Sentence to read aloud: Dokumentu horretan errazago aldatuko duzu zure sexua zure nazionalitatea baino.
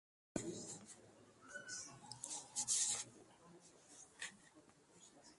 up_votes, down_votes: 0, 3